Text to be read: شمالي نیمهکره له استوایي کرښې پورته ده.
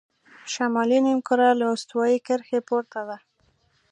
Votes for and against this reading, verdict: 2, 0, accepted